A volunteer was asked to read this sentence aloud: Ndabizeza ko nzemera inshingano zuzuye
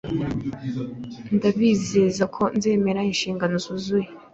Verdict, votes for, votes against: accepted, 2, 0